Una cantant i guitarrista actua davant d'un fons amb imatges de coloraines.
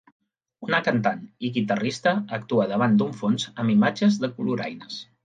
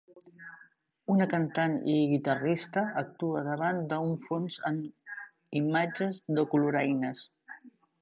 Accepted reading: first